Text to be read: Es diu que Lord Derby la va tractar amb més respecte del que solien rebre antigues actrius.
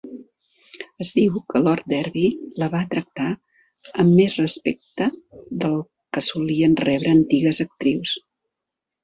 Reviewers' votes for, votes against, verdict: 4, 1, accepted